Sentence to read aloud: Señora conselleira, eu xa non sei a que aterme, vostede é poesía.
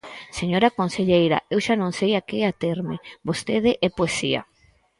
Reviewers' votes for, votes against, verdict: 4, 0, accepted